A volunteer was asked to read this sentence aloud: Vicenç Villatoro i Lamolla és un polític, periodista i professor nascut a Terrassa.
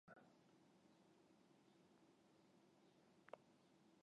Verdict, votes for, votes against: rejected, 0, 3